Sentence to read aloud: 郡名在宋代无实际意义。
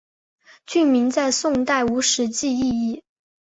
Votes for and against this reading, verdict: 5, 0, accepted